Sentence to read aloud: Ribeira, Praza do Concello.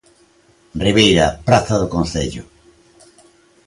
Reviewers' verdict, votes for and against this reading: accepted, 2, 0